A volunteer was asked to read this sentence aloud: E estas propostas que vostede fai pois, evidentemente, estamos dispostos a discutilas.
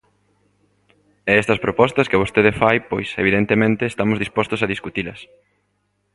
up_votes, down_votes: 2, 1